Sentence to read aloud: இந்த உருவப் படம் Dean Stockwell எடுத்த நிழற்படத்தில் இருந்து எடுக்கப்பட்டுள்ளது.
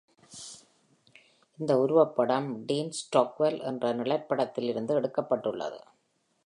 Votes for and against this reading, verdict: 0, 2, rejected